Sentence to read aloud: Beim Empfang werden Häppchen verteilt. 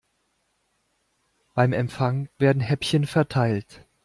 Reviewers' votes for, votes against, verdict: 2, 0, accepted